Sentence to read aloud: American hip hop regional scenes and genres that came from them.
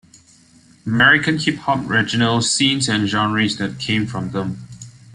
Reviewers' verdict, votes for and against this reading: rejected, 0, 2